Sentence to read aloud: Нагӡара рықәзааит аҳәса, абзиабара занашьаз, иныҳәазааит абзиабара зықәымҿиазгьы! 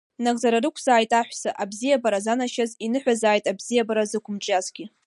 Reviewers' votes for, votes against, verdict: 2, 1, accepted